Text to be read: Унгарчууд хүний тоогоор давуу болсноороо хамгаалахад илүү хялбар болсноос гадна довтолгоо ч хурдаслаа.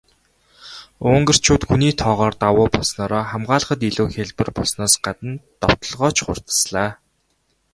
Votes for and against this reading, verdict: 0, 2, rejected